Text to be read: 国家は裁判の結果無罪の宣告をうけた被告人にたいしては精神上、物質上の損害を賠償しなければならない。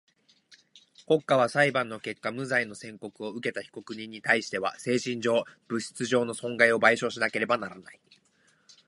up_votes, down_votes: 2, 0